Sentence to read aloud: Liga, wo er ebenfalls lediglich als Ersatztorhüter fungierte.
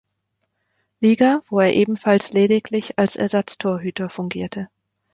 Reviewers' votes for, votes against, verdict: 2, 0, accepted